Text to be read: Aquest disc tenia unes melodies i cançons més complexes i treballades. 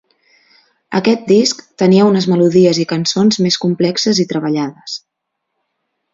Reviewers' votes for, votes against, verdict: 2, 0, accepted